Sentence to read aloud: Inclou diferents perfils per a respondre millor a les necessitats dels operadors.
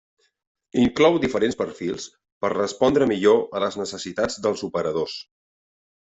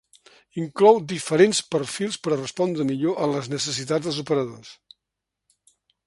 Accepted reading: second